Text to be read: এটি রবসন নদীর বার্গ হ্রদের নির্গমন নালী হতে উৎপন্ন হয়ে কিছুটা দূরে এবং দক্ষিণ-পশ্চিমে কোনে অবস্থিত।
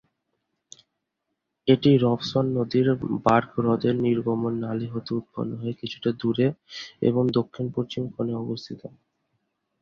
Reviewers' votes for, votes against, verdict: 4, 0, accepted